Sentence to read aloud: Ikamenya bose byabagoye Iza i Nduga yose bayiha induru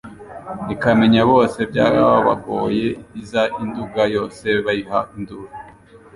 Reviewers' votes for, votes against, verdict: 2, 0, accepted